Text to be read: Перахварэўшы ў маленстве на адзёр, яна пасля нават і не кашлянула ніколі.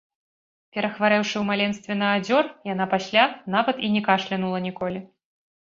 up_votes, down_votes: 1, 2